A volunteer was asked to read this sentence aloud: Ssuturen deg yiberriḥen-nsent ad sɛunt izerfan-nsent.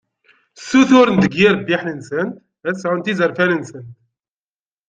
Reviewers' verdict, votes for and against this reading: rejected, 0, 2